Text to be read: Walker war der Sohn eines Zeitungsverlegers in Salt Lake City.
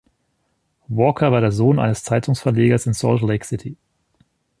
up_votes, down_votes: 2, 0